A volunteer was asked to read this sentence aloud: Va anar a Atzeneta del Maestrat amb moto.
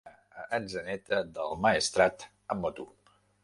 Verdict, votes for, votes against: rejected, 0, 2